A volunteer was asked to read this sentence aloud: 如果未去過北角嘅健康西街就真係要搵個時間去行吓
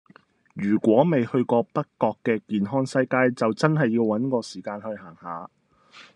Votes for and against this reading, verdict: 2, 0, accepted